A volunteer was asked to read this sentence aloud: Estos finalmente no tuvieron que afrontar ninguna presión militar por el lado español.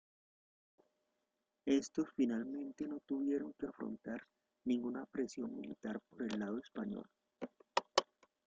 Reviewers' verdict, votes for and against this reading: rejected, 0, 2